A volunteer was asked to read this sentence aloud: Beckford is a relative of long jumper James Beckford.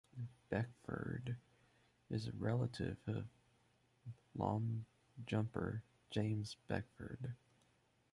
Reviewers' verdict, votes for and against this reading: accepted, 2, 1